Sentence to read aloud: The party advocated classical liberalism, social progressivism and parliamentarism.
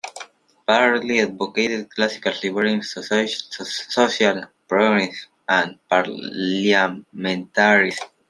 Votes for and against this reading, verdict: 0, 2, rejected